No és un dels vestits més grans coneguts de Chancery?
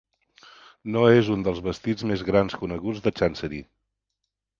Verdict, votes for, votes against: rejected, 2, 3